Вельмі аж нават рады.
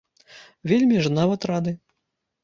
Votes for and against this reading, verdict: 0, 2, rejected